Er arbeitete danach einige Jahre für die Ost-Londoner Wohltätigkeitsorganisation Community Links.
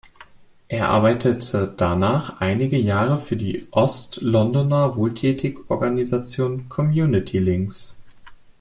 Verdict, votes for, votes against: rejected, 0, 2